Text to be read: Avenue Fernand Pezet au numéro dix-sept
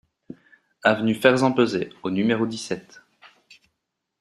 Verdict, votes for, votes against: rejected, 0, 2